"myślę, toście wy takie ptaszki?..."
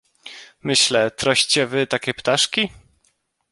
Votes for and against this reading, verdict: 1, 2, rejected